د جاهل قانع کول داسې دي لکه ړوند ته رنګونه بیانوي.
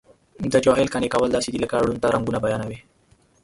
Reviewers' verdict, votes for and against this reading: accepted, 3, 0